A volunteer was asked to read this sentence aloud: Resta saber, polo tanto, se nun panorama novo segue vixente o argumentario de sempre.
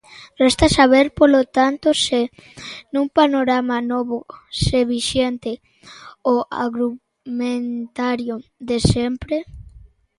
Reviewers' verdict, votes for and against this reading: rejected, 0, 2